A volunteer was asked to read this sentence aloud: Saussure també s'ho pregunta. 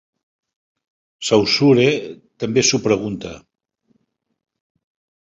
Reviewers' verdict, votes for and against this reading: accepted, 4, 0